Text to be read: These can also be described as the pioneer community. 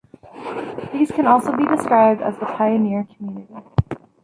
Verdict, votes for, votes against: rejected, 1, 2